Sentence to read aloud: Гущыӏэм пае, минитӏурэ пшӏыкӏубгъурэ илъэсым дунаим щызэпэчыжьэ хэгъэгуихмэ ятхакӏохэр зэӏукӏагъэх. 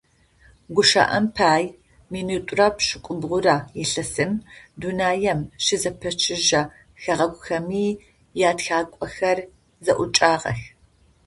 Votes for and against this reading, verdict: 0, 2, rejected